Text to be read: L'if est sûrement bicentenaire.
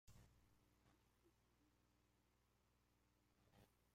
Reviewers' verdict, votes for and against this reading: rejected, 0, 2